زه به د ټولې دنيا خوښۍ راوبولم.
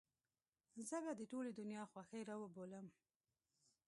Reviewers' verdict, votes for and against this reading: rejected, 0, 2